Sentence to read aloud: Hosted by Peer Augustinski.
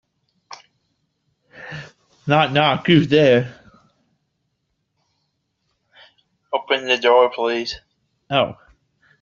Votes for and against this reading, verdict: 0, 2, rejected